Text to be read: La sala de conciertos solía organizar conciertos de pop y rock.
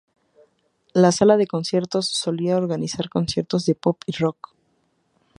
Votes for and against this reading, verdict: 2, 0, accepted